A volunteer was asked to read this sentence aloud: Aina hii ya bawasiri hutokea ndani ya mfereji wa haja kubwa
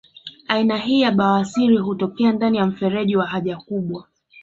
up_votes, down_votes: 2, 0